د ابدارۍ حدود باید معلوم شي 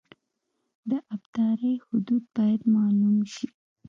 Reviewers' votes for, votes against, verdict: 2, 0, accepted